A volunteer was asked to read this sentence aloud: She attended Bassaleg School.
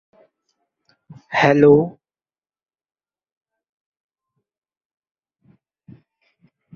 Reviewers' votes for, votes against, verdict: 0, 2, rejected